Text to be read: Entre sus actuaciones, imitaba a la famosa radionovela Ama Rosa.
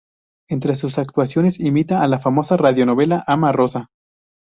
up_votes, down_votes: 2, 2